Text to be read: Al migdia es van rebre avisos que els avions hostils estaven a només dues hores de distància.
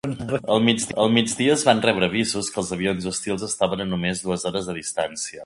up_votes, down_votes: 0, 2